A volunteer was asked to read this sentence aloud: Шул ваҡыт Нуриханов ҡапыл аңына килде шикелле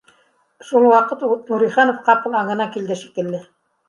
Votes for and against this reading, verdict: 1, 2, rejected